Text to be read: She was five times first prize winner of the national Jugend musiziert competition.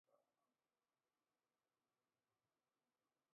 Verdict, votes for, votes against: rejected, 0, 2